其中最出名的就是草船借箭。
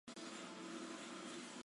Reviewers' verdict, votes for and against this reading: rejected, 1, 4